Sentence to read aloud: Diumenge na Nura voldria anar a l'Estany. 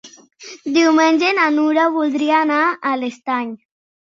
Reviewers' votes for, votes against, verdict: 4, 0, accepted